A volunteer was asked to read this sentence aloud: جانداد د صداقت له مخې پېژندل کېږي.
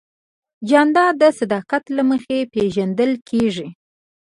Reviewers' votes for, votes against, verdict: 2, 1, accepted